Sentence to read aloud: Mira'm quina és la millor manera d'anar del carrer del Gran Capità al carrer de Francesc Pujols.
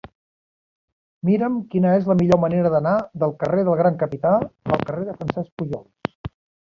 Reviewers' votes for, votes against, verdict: 1, 2, rejected